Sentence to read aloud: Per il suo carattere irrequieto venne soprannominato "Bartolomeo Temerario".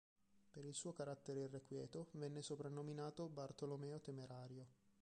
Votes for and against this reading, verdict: 0, 2, rejected